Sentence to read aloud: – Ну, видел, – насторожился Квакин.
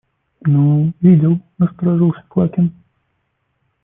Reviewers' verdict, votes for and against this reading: rejected, 1, 2